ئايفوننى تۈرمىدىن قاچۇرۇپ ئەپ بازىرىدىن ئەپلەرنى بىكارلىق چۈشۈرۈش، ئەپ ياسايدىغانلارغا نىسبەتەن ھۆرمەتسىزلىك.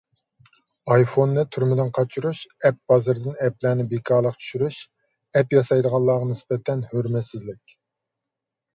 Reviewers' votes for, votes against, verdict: 1, 2, rejected